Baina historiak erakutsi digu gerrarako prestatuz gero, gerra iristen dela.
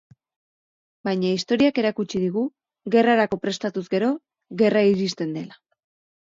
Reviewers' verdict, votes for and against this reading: accepted, 4, 0